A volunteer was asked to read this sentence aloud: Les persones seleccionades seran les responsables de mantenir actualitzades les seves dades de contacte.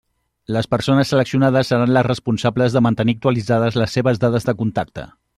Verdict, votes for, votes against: accepted, 3, 0